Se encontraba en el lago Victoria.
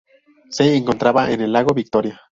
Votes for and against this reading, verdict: 0, 2, rejected